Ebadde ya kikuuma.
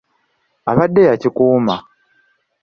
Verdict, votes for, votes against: rejected, 1, 2